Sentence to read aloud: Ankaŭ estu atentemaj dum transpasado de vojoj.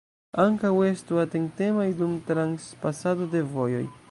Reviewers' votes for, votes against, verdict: 1, 2, rejected